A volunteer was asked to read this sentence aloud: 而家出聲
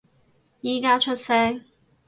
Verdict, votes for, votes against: rejected, 2, 2